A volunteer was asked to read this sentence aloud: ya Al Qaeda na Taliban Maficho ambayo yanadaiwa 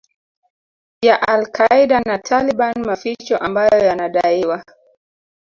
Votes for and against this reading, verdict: 2, 0, accepted